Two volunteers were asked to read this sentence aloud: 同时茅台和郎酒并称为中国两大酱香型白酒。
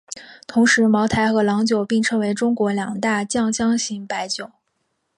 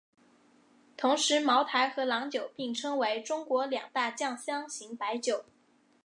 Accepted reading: first